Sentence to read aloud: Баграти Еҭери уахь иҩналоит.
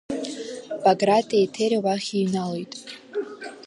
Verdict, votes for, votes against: accepted, 2, 0